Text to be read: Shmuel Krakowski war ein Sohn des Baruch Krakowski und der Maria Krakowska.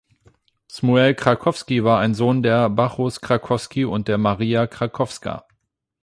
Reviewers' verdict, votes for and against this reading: rejected, 0, 8